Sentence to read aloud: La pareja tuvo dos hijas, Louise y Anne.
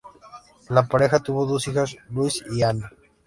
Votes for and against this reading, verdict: 2, 0, accepted